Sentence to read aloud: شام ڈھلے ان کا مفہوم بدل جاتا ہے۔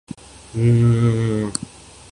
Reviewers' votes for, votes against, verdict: 8, 9, rejected